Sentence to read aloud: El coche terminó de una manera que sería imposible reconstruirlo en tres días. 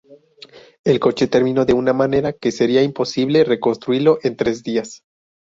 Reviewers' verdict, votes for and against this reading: accepted, 2, 0